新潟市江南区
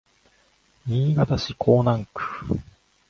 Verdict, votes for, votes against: accepted, 2, 0